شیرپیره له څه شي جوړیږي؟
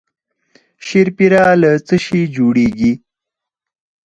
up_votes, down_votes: 0, 4